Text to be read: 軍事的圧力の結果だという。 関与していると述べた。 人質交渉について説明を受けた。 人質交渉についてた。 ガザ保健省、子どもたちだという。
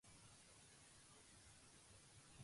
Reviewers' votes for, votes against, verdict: 0, 3, rejected